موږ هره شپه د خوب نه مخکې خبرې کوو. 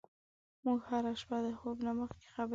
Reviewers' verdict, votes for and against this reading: rejected, 0, 2